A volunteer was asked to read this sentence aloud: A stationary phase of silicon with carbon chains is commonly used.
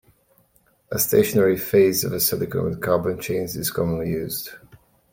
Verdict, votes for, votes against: accepted, 2, 0